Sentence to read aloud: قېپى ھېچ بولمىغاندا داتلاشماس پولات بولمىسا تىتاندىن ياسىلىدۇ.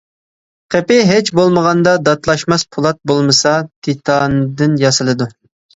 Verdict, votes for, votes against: accepted, 2, 0